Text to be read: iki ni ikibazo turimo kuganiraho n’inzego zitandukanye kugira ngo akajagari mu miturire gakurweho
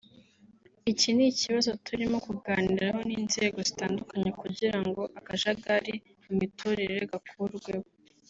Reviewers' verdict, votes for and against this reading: accepted, 3, 0